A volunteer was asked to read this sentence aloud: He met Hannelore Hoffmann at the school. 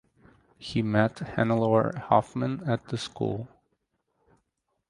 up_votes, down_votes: 4, 0